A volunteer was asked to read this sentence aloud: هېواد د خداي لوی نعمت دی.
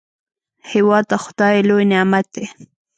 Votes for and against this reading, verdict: 1, 2, rejected